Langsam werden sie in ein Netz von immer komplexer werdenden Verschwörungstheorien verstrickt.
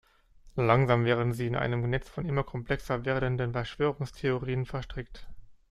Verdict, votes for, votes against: rejected, 1, 2